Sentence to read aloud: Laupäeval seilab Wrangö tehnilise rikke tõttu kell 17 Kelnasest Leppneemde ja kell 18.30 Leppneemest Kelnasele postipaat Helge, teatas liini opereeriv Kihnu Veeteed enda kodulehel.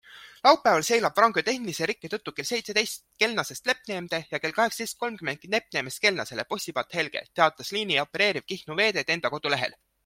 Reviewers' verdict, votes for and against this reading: rejected, 0, 2